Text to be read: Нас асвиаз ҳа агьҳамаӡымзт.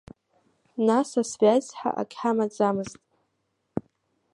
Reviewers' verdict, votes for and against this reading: accepted, 2, 1